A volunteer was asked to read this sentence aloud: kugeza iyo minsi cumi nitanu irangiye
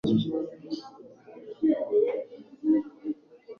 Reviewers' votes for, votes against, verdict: 1, 2, rejected